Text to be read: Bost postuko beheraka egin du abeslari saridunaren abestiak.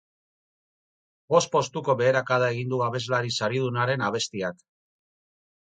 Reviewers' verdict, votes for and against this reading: rejected, 2, 2